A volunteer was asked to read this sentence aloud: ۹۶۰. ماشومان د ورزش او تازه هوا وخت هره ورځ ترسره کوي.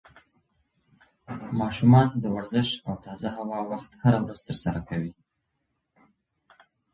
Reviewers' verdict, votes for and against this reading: rejected, 0, 2